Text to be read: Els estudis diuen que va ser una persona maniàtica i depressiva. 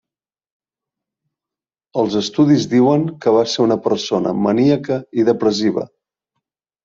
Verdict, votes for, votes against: rejected, 0, 2